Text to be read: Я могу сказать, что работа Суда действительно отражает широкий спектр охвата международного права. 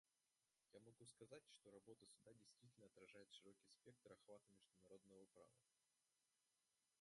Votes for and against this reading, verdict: 0, 2, rejected